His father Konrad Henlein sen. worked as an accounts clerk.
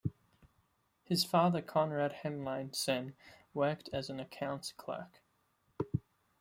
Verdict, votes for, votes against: accepted, 2, 0